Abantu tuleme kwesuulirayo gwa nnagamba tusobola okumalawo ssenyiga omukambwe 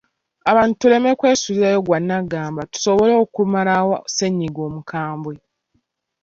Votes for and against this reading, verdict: 2, 0, accepted